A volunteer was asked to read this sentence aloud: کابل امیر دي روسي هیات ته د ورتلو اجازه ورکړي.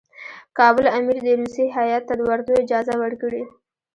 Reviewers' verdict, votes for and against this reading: rejected, 1, 2